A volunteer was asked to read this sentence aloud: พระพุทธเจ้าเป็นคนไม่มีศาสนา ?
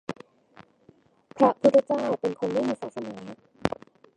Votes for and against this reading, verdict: 0, 2, rejected